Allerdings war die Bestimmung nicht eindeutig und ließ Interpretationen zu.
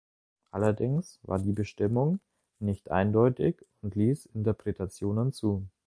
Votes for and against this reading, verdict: 2, 0, accepted